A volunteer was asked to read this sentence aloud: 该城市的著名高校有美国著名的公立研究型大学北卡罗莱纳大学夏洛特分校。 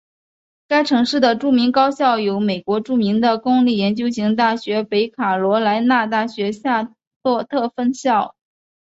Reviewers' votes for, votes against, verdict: 5, 1, accepted